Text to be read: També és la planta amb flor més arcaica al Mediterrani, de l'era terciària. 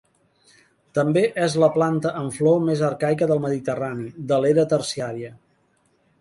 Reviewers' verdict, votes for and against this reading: rejected, 1, 2